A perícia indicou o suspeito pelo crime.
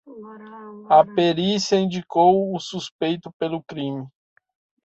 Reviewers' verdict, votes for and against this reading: accepted, 2, 1